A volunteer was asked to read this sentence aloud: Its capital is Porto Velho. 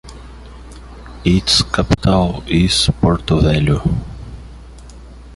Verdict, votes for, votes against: rejected, 1, 2